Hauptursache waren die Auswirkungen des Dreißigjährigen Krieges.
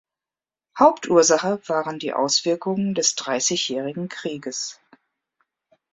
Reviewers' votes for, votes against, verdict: 2, 0, accepted